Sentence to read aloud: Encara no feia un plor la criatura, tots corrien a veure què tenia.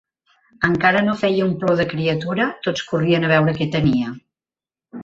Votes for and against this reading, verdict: 1, 2, rejected